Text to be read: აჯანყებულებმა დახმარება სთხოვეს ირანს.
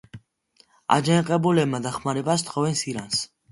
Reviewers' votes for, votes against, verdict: 2, 0, accepted